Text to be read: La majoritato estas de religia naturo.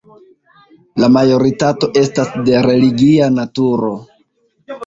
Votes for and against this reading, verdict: 1, 2, rejected